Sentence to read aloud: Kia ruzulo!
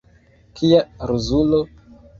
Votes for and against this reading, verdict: 1, 2, rejected